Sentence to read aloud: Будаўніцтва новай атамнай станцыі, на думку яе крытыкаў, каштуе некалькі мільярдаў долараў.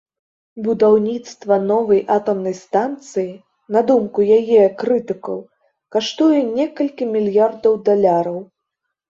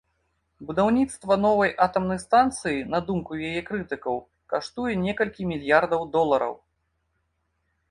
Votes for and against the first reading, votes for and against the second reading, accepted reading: 0, 2, 2, 1, second